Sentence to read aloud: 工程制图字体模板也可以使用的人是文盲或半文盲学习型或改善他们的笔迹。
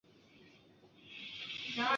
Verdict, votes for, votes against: rejected, 0, 3